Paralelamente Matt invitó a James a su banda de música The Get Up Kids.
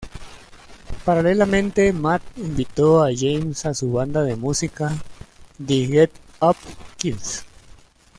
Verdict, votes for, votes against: accepted, 2, 0